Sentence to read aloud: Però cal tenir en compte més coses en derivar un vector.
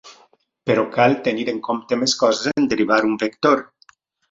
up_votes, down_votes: 2, 0